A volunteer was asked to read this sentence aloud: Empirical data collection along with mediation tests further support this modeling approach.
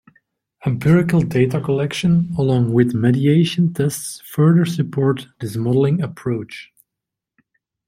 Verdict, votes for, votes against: accepted, 2, 0